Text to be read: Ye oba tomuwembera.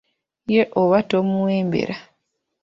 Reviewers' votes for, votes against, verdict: 2, 0, accepted